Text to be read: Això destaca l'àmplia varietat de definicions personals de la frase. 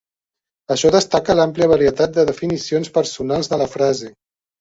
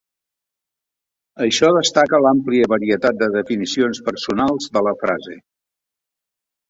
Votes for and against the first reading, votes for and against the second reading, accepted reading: 1, 3, 3, 1, second